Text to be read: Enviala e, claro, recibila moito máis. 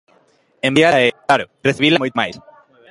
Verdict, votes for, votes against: rejected, 0, 2